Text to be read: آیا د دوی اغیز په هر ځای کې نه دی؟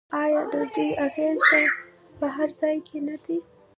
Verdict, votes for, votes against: rejected, 1, 2